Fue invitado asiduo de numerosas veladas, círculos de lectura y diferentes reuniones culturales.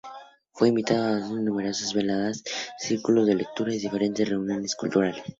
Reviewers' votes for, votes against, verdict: 0, 2, rejected